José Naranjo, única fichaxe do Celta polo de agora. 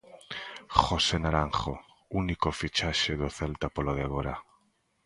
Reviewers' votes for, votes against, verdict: 0, 2, rejected